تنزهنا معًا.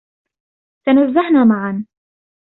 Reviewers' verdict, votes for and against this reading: accepted, 2, 0